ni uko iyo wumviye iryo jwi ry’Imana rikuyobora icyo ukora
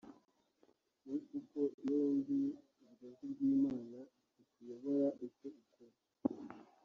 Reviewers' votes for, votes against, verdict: 1, 2, rejected